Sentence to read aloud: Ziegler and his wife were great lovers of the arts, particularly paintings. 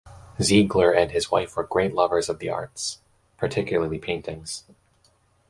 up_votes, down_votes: 2, 0